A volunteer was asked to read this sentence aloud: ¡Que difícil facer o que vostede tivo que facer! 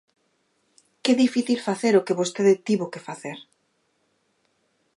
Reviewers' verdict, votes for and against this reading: accepted, 2, 0